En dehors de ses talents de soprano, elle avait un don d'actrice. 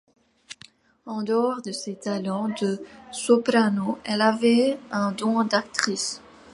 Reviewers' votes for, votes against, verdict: 2, 0, accepted